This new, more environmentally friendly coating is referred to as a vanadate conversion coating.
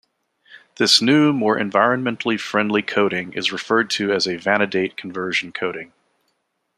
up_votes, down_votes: 2, 0